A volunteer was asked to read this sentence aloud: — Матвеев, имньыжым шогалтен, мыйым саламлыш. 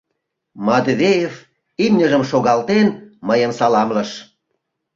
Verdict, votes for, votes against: accepted, 2, 0